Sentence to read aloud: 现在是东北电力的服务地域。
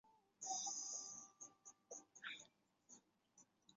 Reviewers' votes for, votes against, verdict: 1, 2, rejected